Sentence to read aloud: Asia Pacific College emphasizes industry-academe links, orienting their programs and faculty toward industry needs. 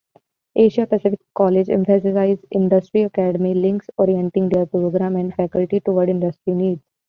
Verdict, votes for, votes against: rejected, 1, 2